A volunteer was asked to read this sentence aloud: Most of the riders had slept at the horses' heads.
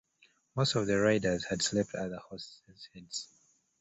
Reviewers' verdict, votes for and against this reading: rejected, 0, 2